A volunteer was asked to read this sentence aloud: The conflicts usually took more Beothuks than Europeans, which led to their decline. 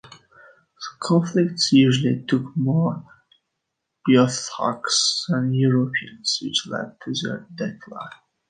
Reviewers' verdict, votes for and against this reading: rejected, 0, 2